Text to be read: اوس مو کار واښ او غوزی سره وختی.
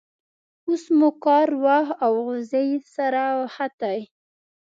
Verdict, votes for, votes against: rejected, 1, 2